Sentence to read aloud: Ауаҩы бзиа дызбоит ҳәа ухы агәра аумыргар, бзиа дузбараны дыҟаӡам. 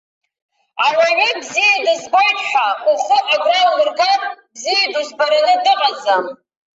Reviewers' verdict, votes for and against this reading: rejected, 0, 2